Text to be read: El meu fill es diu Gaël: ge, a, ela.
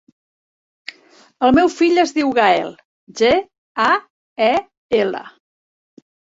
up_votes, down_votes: 1, 2